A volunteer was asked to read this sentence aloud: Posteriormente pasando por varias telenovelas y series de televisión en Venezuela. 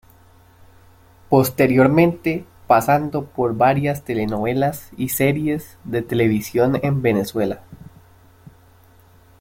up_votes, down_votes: 2, 0